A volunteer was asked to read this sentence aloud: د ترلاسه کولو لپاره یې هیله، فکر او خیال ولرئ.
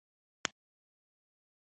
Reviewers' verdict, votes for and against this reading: accepted, 2, 1